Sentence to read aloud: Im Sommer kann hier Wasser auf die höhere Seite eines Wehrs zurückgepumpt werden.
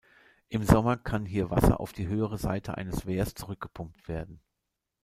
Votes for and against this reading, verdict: 2, 0, accepted